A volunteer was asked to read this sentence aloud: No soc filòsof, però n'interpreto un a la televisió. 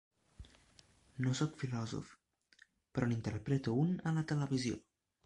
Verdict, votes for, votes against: rejected, 0, 2